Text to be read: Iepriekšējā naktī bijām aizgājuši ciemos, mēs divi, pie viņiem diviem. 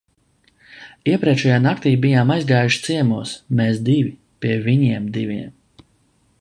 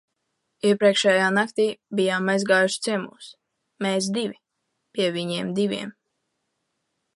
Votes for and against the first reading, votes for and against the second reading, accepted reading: 2, 0, 1, 2, first